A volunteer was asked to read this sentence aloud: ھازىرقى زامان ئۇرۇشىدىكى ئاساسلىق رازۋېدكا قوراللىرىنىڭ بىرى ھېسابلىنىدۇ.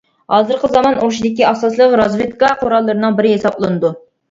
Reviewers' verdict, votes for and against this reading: rejected, 1, 2